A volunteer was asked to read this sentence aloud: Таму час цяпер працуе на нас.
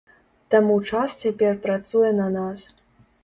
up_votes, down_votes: 3, 0